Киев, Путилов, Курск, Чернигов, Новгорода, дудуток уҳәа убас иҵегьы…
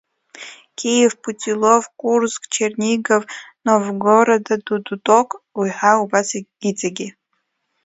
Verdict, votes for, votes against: rejected, 0, 2